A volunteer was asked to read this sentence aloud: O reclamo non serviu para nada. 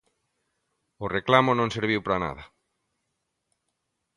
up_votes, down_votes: 3, 0